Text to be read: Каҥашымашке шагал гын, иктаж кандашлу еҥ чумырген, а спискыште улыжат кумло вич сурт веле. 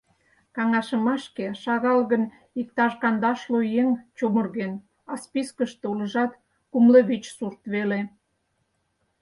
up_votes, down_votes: 4, 0